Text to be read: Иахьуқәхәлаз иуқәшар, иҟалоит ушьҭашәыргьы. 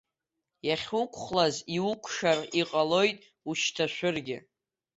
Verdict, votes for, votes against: accepted, 2, 0